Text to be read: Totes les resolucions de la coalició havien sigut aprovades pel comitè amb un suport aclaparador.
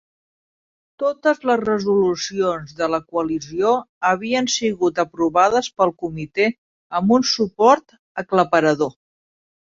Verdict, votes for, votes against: accepted, 5, 0